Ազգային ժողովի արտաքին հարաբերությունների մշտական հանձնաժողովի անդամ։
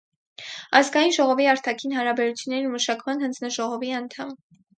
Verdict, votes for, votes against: rejected, 2, 4